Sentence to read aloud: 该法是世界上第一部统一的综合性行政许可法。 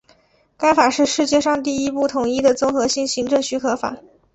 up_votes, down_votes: 2, 0